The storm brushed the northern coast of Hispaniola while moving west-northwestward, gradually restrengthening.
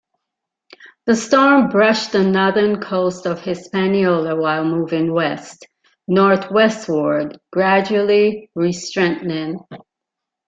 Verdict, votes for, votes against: rejected, 1, 2